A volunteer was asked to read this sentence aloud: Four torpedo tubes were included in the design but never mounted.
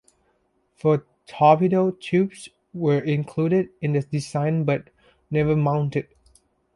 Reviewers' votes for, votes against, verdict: 2, 0, accepted